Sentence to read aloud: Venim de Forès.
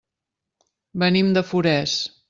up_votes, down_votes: 3, 0